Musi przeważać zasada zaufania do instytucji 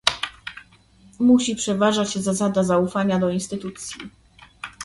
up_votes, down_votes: 2, 0